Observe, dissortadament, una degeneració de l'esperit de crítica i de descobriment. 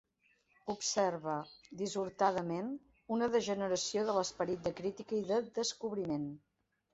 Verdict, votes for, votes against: accepted, 2, 0